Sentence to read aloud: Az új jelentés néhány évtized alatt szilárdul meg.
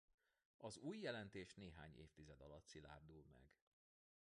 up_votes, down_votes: 1, 2